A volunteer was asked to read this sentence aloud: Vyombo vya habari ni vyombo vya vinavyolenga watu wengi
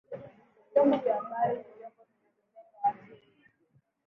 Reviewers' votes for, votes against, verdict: 0, 2, rejected